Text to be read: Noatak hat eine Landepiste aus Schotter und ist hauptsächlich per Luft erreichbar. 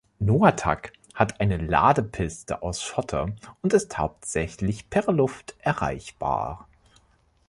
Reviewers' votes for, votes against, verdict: 1, 2, rejected